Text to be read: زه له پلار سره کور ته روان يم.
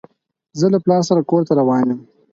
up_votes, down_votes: 4, 0